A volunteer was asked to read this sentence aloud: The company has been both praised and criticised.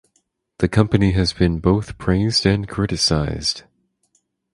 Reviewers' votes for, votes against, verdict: 4, 2, accepted